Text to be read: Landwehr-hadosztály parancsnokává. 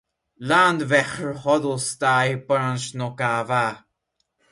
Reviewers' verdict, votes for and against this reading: rejected, 0, 2